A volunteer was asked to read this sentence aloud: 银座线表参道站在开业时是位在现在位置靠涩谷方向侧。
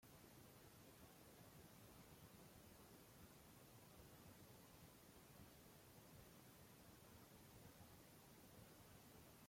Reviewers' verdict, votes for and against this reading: rejected, 0, 2